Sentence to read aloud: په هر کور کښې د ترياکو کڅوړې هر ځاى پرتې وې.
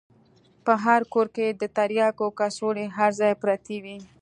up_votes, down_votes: 2, 0